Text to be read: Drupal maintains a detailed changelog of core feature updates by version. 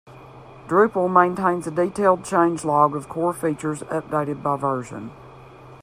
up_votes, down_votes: 1, 2